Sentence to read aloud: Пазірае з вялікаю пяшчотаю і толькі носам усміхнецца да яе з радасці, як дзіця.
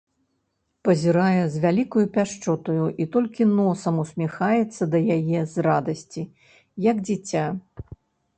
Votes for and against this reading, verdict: 0, 2, rejected